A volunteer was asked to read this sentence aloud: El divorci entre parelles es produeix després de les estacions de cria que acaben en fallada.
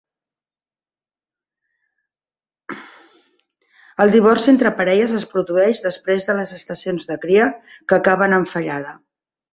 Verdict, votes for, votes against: accepted, 2, 1